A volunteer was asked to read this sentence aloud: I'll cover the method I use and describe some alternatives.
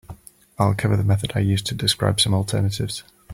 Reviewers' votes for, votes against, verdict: 2, 3, rejected